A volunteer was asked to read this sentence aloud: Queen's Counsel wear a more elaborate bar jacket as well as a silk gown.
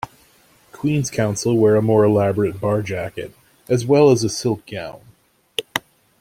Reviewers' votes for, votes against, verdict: 2, 0, accepted